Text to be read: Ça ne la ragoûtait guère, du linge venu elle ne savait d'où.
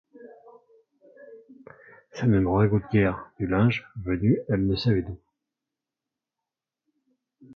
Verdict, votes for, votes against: rejected, 1, 2